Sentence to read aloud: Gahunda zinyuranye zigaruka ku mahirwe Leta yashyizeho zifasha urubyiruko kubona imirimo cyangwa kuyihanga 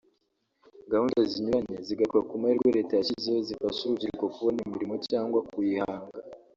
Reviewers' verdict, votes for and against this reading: rejected, 1, 2